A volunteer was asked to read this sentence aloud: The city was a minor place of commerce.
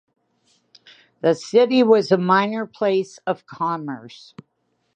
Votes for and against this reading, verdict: 2, 0, accepted